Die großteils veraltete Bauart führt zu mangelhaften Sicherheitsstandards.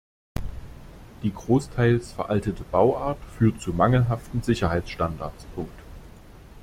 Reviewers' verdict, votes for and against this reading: rejected, 0, 2